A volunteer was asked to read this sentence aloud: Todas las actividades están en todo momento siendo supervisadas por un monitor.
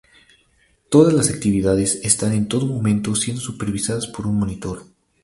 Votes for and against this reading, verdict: 0, 2, rejected